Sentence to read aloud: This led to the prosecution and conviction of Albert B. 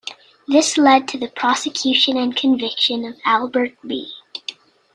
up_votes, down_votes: 2, 0